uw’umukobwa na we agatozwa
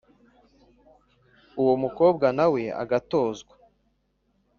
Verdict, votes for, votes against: rejected, 0, 2